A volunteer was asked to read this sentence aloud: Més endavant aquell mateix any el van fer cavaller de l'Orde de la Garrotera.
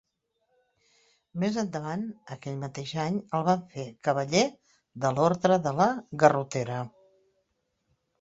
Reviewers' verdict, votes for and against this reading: accepted, 2, 0